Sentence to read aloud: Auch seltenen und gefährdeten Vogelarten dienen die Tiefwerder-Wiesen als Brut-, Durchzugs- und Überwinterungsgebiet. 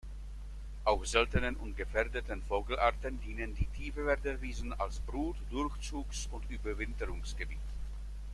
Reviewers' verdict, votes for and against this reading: accepted, 2, 0